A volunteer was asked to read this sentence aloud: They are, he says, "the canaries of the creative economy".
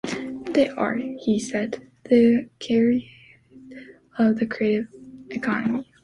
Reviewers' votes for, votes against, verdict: 0, 2, rejected